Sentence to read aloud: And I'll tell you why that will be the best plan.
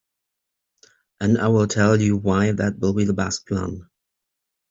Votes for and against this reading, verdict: 2, 1, accepted